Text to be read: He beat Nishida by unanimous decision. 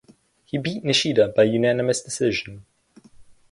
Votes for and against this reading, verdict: 4, 0, accepted